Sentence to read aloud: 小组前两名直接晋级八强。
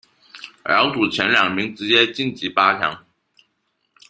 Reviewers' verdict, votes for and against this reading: rejected, 1, 2